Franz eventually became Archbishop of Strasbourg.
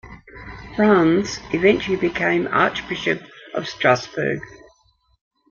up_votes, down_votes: 2, 0